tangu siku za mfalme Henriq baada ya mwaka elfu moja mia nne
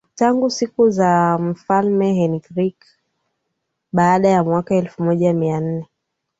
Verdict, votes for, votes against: accepted, 4, 0